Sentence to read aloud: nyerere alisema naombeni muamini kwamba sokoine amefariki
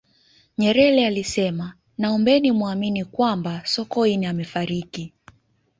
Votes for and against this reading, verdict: 2, 0, accepted